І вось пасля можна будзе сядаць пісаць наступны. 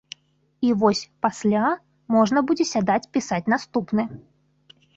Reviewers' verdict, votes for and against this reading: accepted, 2, 0